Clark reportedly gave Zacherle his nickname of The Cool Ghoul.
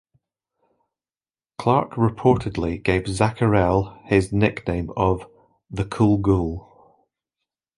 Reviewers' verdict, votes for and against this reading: accepted, 2, 0